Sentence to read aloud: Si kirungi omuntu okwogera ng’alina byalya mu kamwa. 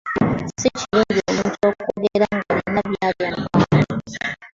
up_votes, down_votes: 2, 0